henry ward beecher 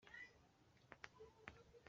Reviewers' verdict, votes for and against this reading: rejected, 1, 2